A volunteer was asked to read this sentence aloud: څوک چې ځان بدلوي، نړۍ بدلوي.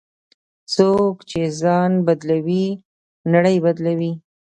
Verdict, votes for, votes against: rejected, 1, 2